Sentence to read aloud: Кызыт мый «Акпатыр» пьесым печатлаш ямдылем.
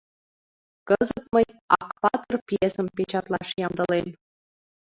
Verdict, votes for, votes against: accepted, 2, 1